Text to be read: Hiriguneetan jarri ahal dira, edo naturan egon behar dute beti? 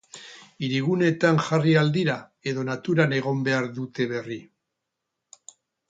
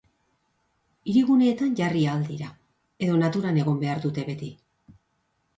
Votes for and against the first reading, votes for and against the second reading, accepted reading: 0, 4, 2, 0, second